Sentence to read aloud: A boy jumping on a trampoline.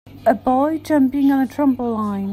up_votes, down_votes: 0, 2